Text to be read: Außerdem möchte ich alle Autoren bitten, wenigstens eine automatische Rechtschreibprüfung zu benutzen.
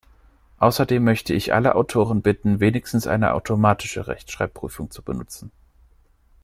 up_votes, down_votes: 2, 0